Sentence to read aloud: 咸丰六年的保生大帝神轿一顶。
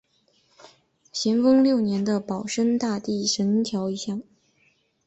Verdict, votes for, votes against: accepted, 6, 3